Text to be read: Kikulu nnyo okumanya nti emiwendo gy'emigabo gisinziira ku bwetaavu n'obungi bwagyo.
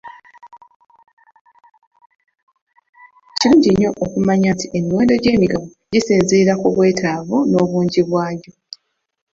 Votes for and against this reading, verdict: 0, 2, rejected